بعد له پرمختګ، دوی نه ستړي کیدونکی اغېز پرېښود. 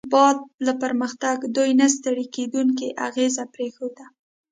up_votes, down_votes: 2, 0